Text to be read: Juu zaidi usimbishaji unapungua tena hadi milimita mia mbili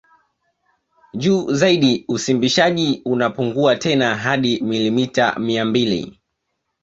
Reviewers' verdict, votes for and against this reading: rejected, 1, 2